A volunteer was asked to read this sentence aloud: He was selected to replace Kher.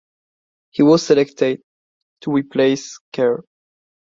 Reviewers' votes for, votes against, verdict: 2, 0, accepted